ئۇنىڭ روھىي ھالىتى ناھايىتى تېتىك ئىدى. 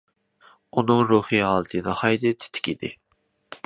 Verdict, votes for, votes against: accepted, 2, 1